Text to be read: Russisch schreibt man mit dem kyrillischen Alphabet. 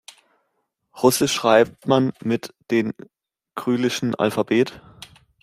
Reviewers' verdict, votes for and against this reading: rejected, 0, 2